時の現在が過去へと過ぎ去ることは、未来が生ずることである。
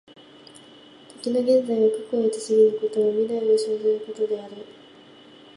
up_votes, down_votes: 1, 2